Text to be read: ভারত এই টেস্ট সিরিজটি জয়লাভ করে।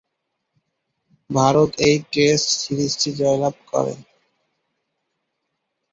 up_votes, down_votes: 0, 2